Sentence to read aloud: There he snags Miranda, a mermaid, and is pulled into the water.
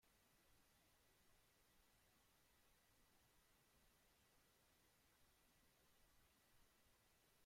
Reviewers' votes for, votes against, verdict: 0, 2, rejected